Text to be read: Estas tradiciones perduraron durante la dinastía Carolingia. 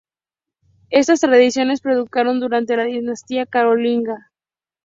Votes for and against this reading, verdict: 0, 2, rejected